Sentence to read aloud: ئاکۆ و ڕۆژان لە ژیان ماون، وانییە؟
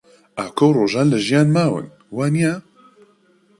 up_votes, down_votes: 2, 0